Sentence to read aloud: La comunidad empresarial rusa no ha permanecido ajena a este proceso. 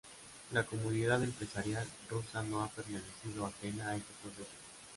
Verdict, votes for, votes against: rejected, 0, 2